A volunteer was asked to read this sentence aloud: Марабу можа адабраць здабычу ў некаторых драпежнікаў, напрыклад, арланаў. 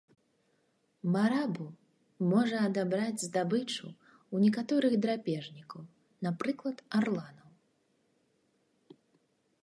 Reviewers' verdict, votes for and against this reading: rejected, 1, 2